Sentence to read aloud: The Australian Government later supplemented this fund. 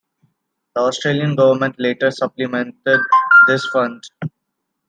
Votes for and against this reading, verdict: 2, 0, accepted